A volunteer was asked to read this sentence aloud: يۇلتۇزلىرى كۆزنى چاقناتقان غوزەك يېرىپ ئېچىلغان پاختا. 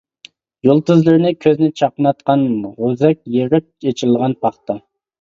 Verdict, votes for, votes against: rejected, 0, 2